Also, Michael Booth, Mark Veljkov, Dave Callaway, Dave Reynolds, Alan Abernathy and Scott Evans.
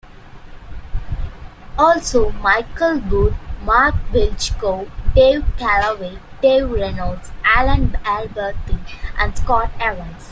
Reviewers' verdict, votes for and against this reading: rejected, 1, 2